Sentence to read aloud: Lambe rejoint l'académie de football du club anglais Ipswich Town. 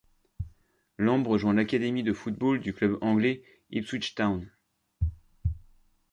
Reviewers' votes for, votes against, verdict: 2, 0, accepted